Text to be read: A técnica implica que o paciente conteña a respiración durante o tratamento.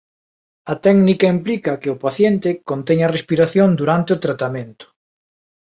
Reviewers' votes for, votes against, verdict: 2, 0, accepted